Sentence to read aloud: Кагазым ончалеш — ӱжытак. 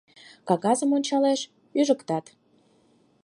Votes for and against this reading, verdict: 4, 2, accepted